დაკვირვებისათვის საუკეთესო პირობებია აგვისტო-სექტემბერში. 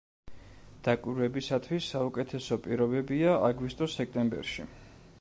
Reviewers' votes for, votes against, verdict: 2, 0, accepted